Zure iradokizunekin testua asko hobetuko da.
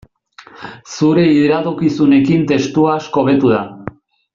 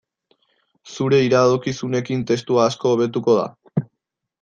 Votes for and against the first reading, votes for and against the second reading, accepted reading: 0, 2, 2, 0, second